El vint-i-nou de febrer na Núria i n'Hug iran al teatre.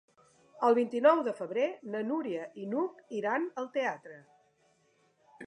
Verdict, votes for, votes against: accepted, 2, 0